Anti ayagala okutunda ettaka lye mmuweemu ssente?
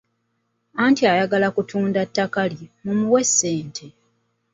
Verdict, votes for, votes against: rejected, 1, 2